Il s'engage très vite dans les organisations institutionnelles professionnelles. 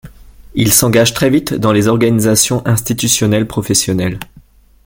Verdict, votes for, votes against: accepted, 2, 0